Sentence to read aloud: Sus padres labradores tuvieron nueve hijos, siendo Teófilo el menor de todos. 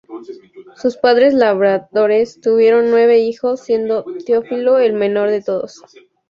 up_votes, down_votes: 2, 2